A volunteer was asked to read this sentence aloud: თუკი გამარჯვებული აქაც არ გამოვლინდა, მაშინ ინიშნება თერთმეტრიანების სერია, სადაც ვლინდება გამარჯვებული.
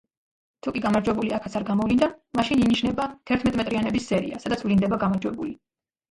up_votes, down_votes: 2, 1